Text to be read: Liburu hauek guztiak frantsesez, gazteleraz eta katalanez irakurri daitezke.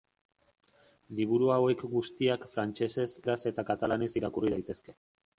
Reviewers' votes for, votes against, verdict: 0, 2, rejected